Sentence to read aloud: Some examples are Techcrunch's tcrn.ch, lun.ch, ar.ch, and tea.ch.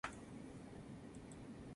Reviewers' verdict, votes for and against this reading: rejected, 0, 2